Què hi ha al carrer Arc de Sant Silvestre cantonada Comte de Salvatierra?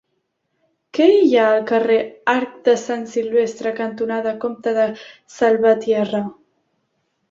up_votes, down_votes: 3, 0